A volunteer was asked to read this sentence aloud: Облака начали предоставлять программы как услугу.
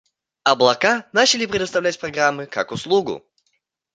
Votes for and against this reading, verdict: 0, 2, rejected